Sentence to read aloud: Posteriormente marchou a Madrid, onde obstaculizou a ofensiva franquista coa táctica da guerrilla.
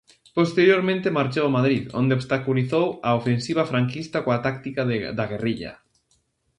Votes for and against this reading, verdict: 0, 2, rejected